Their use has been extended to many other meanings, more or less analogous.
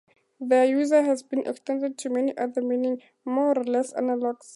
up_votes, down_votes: 0, 4